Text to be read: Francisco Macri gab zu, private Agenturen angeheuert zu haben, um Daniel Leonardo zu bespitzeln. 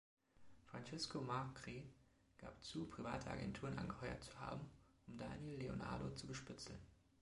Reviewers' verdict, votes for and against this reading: accepted, 2, 0